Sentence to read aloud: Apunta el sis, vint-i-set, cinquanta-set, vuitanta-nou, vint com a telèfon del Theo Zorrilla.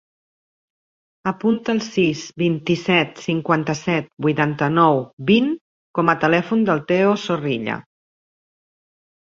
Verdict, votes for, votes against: rejected, 1, 2